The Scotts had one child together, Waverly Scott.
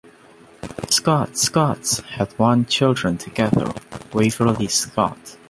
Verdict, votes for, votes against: rejected, 0, 2